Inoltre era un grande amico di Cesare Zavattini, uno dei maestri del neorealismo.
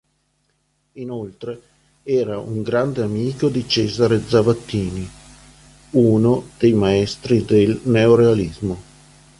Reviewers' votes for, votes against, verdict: 2, 0, accepted